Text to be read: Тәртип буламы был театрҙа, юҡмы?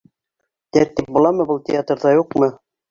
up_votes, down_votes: 2, 0